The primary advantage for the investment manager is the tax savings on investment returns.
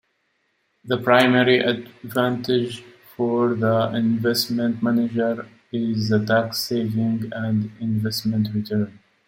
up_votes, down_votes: 2, 1